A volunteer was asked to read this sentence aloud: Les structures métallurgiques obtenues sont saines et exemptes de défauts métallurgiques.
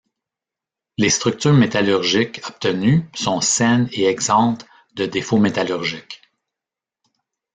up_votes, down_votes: 2, 0